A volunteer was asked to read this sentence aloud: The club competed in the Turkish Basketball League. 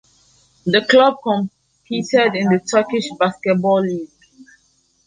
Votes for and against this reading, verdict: 2, 1, accepted